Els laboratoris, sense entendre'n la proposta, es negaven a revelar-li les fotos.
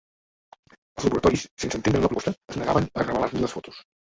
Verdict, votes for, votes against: rejected, 0, 2